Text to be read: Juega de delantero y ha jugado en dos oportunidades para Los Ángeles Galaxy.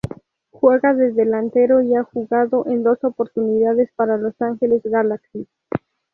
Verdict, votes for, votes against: accepted, 4, 0